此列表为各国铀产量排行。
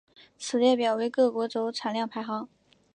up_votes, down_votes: 1, 2